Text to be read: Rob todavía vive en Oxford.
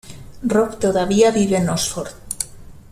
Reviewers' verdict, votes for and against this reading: accepted, 2, 0